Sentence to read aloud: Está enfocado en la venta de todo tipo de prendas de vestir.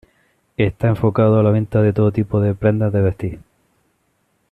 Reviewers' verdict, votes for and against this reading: rejected, 1, 2